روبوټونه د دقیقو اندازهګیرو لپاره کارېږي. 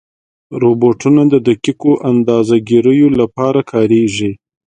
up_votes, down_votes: 2, 0